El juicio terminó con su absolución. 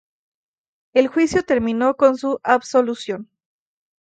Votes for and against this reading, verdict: 0, 2, rejected